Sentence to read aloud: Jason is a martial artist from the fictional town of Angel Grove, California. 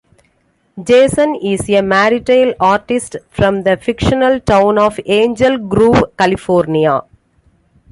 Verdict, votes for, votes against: accepted, 2, 1